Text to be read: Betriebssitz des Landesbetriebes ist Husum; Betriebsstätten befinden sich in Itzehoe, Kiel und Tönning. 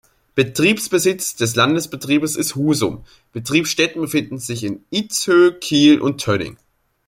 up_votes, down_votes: 1, 2